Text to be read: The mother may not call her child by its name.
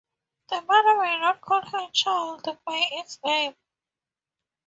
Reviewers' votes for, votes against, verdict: 2, 0, accepted